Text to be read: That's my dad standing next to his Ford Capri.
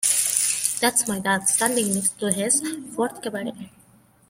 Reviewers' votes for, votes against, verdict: 1, 2, rejected